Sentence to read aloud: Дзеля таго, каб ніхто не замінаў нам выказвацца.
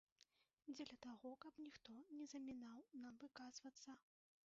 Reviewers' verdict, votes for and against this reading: rejected, 1, 2